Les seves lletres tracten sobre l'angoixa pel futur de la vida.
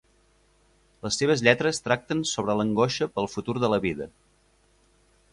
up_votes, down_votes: 2, 0